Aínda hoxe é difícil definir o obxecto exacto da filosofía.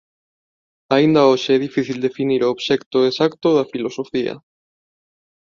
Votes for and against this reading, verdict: 2, 0, accepted